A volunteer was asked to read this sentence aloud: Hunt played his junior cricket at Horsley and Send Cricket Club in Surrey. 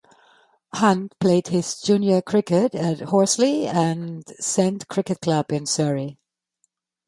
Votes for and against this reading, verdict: 0, 2, rejected